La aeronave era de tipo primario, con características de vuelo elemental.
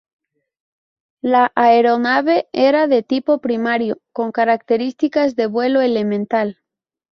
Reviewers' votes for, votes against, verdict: 2, 0, accepted